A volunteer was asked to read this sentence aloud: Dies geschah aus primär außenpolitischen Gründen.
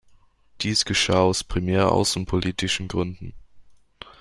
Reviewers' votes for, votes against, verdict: 2, 0, accepted